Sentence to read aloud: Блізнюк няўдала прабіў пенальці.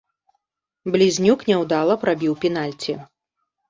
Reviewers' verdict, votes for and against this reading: accepted, 2, 0